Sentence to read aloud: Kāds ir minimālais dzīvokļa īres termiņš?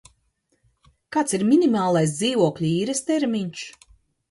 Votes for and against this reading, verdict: 2, 0, accepted